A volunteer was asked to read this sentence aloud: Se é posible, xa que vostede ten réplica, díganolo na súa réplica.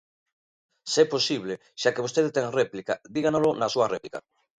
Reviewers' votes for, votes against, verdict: 0, 2, rejected